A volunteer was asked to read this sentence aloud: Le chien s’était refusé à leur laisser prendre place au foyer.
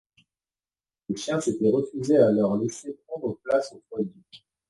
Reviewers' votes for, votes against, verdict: 2, 0, accepted